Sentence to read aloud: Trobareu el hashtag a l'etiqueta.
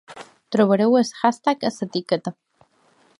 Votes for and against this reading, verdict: 0, 2, rejected